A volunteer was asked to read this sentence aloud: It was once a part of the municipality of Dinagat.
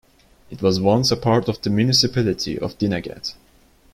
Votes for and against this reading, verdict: 2, 0, accepted